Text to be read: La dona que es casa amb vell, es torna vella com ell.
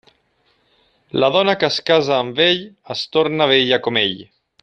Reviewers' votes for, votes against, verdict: 0, 2, rejected